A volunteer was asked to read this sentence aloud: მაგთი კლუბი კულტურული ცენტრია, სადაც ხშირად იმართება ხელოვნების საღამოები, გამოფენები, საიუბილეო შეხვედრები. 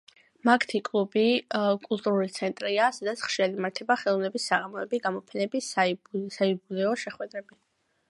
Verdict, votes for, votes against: accepted, 2, 0